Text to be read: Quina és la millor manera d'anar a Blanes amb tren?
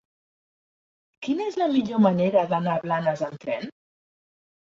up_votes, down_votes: 3, 0